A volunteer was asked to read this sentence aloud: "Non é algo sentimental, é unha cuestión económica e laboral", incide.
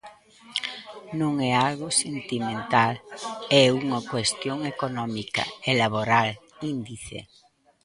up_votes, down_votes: 0, 2